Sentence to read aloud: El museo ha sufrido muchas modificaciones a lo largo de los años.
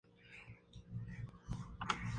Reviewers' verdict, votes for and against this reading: rejected, 0, 2